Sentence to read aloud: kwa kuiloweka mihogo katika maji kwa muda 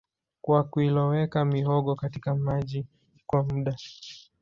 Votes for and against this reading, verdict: 2, 0, accepted